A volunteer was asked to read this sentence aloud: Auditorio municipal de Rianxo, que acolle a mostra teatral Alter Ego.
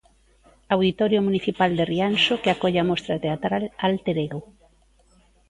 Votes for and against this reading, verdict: 2, 0, accepted